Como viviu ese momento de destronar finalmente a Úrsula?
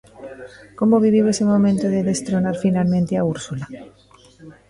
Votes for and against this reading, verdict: 2, 0, accepted